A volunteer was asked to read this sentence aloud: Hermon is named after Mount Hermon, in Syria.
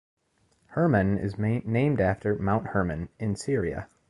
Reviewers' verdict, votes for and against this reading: rejected, 1, 2